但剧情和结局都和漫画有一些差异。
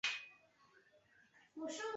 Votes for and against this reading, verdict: 0, 2, rejected